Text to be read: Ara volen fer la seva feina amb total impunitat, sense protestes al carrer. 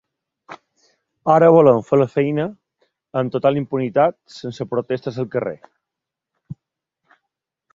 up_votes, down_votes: 1, 2